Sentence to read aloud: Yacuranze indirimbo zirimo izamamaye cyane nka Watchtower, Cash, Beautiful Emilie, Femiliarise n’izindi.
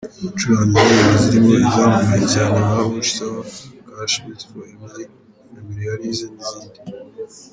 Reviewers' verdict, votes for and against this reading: rejected, 0, 2